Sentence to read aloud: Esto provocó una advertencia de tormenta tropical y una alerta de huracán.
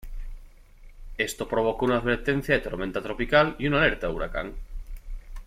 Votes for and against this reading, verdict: 0, 2, rejected